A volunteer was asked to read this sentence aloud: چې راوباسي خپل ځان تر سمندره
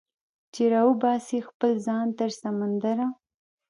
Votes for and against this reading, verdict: 1, 2, rejected